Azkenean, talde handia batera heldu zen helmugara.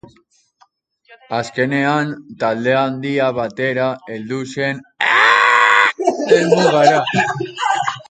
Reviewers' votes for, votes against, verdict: 0, 3, rejected